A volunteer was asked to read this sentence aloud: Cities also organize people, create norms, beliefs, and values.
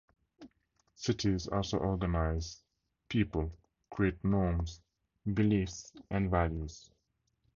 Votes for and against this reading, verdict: 2, 0, accepted